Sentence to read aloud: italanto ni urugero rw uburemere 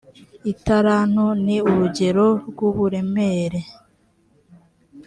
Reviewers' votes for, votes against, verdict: 3, 0, accepted